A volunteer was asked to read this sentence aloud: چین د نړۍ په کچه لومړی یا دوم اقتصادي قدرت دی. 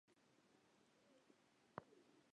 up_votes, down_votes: 0, 2